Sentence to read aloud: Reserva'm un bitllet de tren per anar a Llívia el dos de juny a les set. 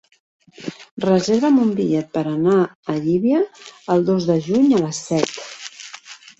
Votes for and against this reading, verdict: 0, 2, rejected